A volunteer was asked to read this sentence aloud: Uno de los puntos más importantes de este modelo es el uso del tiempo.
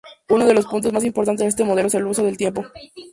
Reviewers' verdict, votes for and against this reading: accepted, 2, 0